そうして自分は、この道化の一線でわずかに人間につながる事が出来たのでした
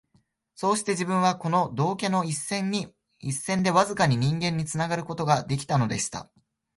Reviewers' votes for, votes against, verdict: 1, 2, rejected